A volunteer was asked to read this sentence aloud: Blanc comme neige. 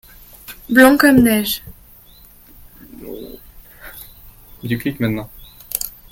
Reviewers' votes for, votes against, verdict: 0, 2, rejected